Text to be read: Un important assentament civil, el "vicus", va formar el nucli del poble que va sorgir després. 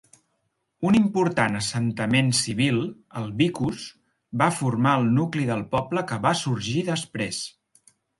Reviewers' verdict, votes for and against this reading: accepted, 5, 0